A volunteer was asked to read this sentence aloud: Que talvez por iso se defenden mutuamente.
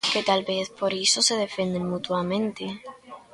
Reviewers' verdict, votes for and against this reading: rejected, 0, 2